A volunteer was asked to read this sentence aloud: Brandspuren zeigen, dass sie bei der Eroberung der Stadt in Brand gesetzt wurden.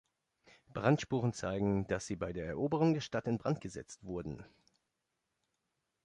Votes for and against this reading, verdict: 2, 0, accepted